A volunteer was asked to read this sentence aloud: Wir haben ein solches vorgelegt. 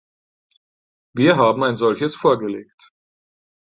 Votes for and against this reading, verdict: 4, 0, accepted